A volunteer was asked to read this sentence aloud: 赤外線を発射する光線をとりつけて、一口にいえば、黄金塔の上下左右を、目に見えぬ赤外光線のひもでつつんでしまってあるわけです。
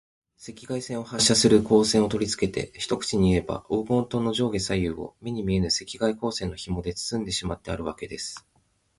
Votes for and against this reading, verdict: 23, 4, accepted